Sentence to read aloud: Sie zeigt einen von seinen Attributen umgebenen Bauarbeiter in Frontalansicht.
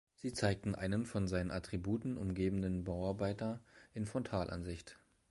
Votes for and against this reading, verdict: 0, 2, rejected